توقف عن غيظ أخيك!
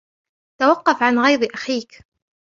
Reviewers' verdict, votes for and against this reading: rejected, 1, 2